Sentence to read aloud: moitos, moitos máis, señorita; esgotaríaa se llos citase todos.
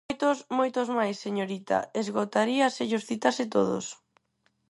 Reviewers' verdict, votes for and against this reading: rejected, 2, 2